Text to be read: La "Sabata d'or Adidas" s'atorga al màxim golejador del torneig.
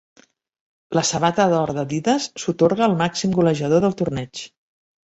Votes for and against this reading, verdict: 0, 2, rejected